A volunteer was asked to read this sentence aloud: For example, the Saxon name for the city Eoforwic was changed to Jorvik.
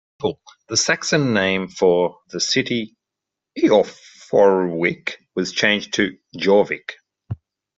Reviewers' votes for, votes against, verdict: 0, 2, rejected